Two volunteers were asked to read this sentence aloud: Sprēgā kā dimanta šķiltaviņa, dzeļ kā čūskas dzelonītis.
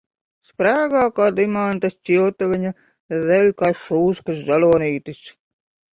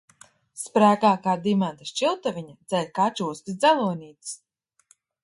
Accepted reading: second